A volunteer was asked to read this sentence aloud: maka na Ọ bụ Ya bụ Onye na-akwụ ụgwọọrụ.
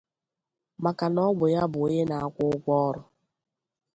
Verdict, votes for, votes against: accepted, 2, 0